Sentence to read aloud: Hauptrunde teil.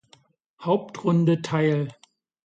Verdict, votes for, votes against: accepted, 2, 0